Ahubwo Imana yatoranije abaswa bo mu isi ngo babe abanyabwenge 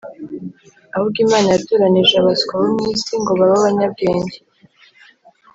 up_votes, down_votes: 3, 0